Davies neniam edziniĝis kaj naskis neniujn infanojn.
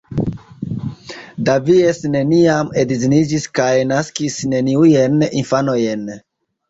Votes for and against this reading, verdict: 2, 1, accepted